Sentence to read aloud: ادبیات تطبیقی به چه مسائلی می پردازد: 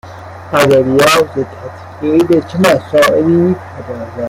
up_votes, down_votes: 1, 2